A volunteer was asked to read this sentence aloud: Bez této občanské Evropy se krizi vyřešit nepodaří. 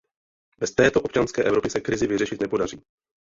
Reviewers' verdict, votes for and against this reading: accepted, 2, 0